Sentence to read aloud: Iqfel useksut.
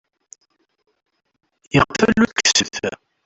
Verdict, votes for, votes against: rejected, 0, 2